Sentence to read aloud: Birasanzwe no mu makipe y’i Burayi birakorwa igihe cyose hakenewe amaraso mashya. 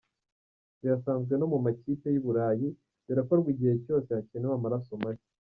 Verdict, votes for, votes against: accepted, 2, 0